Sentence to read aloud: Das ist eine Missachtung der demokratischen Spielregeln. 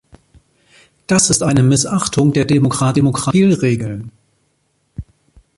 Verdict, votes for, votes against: rejected, 0, 2